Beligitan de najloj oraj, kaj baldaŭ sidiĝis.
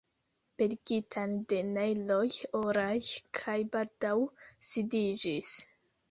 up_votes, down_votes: 0, 2